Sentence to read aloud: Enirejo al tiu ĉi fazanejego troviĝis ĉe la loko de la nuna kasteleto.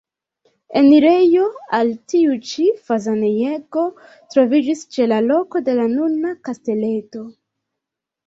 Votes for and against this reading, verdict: 2, 0, accepted